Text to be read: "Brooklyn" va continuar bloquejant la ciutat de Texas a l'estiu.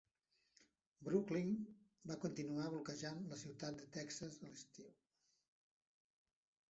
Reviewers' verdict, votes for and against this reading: accepted, 2, 0